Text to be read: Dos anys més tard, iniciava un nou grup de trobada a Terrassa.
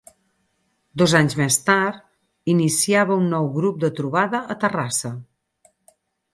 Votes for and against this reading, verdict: 6, 0, accepted